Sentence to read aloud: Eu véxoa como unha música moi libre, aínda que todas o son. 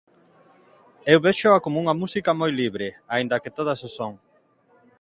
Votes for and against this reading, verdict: 2, 0, accepted